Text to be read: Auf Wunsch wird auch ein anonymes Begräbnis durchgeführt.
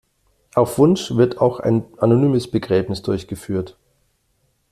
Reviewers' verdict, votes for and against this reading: accepted, 2, 0